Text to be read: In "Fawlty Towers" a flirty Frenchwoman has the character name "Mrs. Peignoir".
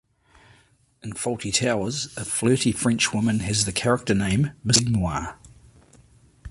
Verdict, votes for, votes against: rejected, 1, 2